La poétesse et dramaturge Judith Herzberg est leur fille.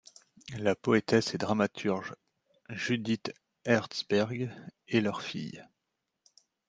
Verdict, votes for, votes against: accepted, 2, 0